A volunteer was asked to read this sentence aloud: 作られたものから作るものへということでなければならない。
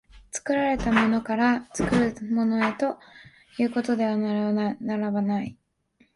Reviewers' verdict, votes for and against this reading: rejected, 1, 3